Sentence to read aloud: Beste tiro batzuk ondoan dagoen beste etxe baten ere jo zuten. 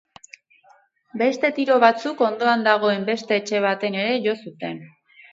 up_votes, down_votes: 6, 0